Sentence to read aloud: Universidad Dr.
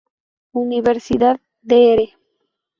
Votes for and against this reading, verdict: 2, 2, rejected